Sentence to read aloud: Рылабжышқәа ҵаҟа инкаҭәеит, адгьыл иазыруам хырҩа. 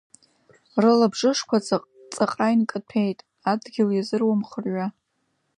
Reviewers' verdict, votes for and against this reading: accepted, 2, 0